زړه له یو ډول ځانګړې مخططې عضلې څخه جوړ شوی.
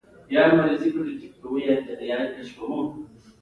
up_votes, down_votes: 2, 1